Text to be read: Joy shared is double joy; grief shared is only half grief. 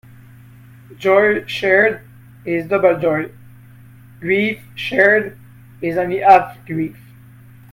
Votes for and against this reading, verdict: 0, 2, rejected